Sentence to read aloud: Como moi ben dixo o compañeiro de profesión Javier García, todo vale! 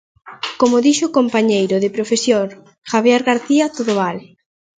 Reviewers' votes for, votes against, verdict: 1, 2, rejected